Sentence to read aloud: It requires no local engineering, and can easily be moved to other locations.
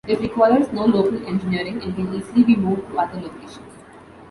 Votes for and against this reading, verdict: 2, 1, accepted